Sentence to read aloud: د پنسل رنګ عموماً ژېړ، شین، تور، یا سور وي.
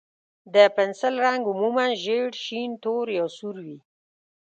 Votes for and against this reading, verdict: 2, 0, accepted